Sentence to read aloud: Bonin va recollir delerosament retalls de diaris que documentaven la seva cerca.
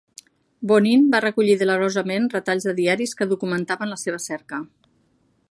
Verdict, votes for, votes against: accepted, 3, 0